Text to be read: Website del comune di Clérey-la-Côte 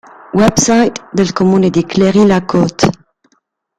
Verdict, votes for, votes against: rejected, 1, 2